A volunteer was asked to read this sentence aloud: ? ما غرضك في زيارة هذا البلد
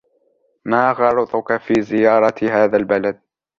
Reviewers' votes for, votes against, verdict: 2, 0, accepted